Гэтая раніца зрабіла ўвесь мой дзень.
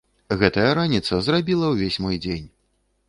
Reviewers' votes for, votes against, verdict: 2, 0, accepted